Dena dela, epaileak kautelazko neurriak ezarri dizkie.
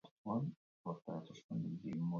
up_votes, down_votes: 0, 2